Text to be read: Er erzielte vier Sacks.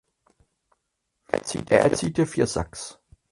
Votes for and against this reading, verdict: 0, 4, rejected